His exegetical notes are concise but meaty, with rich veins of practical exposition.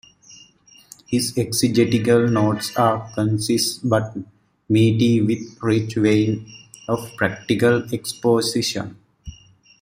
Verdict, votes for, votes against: rejected, 0, 2